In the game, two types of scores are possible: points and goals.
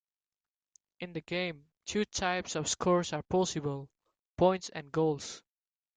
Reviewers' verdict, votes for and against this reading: accepted, 2, 0